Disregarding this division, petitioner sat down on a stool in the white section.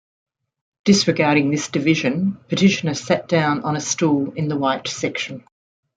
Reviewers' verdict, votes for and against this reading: accepted, 2, 0